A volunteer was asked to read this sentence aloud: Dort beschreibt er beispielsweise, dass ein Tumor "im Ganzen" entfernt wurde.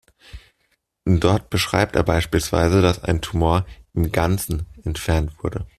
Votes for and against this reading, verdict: 2, 0, accepted